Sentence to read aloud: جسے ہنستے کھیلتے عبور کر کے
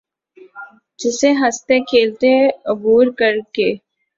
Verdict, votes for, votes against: accepted, 2, 0